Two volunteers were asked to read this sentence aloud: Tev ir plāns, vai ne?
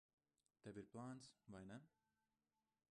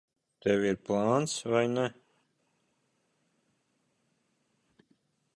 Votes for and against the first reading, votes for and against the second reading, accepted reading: 1, 2, 2, 0, second